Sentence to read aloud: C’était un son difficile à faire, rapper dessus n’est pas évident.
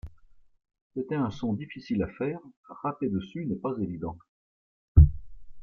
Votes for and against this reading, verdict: 2, 0, accepted